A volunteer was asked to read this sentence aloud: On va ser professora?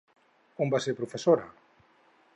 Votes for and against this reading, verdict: 4, 0, accepted